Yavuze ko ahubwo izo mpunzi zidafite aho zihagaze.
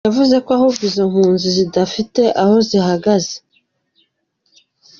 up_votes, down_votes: 2, 0